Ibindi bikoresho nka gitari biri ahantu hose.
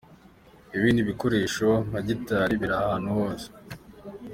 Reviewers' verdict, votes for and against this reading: accepted, 3, 0